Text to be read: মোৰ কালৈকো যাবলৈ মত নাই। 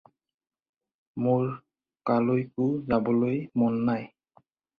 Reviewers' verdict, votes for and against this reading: rejected, 0, 4